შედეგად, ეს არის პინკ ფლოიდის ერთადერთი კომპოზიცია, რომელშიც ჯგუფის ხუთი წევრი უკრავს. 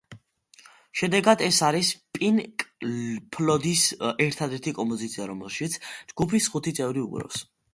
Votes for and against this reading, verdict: 2, 0, accepted